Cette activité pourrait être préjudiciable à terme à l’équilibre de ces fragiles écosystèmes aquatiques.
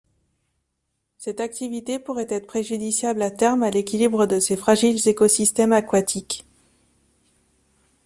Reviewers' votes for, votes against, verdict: 2, 0, accepted